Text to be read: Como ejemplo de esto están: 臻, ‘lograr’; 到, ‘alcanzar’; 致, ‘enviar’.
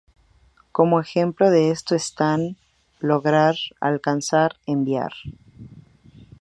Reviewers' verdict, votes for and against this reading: rejected, 2, 2